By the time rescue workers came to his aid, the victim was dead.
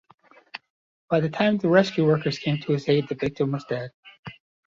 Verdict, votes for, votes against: accepted, 2, 0